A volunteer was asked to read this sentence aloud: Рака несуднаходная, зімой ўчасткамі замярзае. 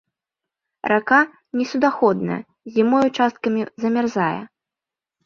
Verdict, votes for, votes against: accepted, 2, 0